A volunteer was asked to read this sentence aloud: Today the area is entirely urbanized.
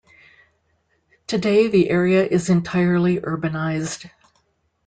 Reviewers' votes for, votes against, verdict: 2, 0, accepted